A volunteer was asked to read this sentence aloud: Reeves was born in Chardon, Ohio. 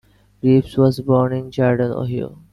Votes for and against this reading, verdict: 1, 2, rejected